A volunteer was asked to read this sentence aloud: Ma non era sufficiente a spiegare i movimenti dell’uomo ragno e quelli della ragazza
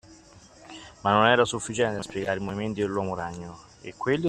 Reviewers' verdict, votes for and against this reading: rejected, 0, 2